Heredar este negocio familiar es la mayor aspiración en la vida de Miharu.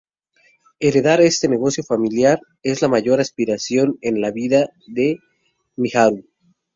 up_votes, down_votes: 2, 0